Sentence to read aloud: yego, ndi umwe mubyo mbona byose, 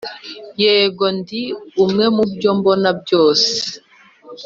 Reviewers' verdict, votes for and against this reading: accepted, 2, 0